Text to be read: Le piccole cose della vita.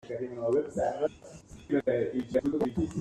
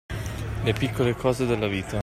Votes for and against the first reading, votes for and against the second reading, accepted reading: 1, 2, 2, 0, second